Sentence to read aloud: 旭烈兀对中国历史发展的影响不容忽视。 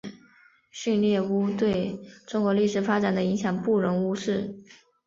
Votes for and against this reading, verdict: 3, 1, accepted